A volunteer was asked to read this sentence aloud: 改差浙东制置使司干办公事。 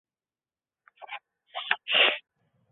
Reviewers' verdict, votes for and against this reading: rejected, 1, 2